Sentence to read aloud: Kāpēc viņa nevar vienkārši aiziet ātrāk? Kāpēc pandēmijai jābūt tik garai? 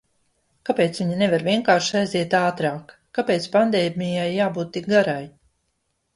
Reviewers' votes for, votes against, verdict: 1, 2, rejected